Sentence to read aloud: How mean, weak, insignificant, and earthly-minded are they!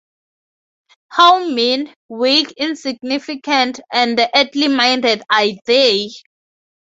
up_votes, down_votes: 0, 2